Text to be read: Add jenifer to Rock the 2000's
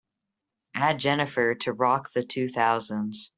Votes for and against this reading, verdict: 0, 2, rejected